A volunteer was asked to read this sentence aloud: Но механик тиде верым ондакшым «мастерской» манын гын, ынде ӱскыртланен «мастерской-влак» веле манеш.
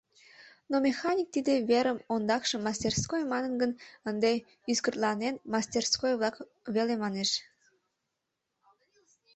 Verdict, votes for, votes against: accepted, 3, 0